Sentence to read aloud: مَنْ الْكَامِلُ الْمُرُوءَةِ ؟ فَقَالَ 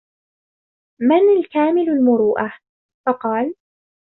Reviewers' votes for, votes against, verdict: 2, 0, accepted